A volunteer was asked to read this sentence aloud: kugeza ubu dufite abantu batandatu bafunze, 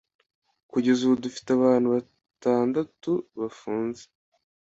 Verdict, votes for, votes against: accepted, 2, 0